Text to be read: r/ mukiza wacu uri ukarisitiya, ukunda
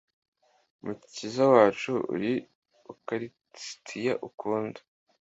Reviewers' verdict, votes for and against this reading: accepted, 2, 0